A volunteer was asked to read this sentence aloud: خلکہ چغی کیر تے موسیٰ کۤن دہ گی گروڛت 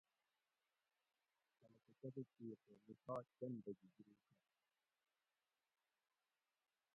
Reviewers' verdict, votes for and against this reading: rejected, 0, 2